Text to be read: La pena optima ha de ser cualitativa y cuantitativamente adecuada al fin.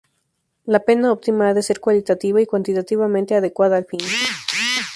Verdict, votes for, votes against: accepted, 2, 0